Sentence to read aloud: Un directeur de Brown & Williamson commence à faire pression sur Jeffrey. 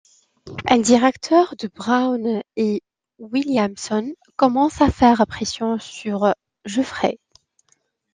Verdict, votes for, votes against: accepted, 2, 0